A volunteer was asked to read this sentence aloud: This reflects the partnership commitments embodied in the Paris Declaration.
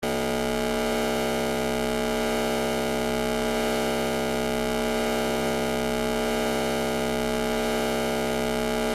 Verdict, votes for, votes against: rejected, 0, 2